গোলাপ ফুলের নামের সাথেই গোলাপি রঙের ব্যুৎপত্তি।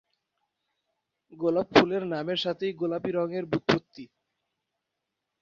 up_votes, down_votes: 2, 0